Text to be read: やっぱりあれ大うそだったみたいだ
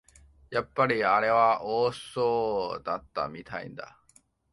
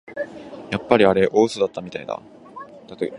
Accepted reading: second